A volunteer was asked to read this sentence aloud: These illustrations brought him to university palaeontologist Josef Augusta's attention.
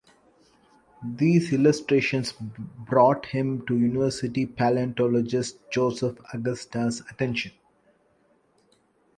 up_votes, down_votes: 1, 2